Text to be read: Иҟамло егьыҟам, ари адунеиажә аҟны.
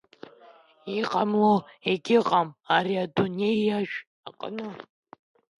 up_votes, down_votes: 2, 0